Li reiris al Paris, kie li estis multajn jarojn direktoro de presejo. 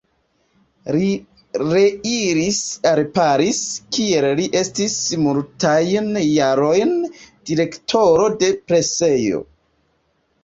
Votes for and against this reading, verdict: 1, 2, rejected